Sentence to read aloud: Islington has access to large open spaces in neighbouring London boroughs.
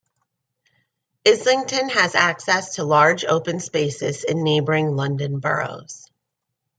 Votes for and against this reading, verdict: 2, 0, accepted